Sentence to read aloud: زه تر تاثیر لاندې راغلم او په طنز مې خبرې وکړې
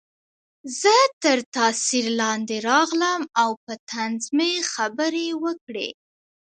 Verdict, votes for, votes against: accepted, 2, 1